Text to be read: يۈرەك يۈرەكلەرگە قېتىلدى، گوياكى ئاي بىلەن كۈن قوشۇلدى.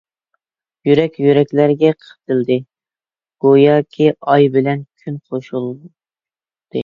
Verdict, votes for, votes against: rejected, 0, 2